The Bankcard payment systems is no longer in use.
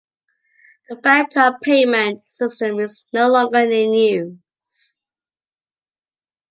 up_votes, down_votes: 0, 2